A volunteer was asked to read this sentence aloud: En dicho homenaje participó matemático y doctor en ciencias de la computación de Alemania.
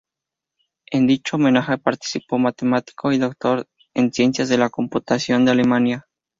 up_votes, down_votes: 2, 2